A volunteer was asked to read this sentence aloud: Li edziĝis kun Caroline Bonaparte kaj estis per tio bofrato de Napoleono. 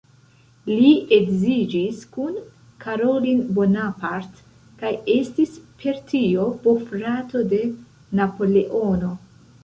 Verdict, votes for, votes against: rejected, 0, 2